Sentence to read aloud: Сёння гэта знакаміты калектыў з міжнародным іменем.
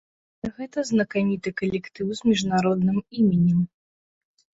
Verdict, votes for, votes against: rejected, 1, 2